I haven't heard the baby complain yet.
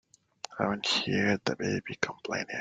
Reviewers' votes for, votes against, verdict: 0, 3, rejected